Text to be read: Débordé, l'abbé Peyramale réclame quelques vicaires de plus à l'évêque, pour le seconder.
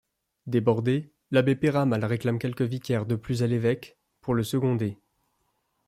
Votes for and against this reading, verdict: 2, 0, accepted